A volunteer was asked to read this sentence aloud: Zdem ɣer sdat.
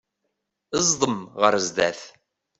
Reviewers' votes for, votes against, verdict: 1, 2, rejected